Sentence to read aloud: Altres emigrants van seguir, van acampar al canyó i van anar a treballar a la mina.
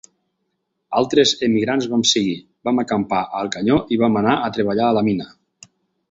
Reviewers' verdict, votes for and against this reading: rejected, 0, 4